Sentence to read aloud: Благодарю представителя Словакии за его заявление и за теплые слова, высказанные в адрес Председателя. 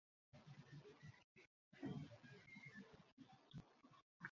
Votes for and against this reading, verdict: 0, 2, rejected